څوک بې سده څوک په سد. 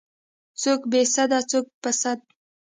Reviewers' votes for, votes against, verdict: 2, 0, accepted